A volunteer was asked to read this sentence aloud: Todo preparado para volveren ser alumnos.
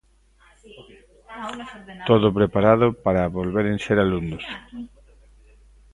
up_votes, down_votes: 0, 2